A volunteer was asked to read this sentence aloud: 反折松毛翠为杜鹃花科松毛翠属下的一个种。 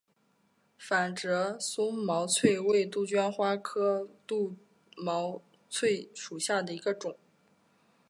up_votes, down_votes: 3, 1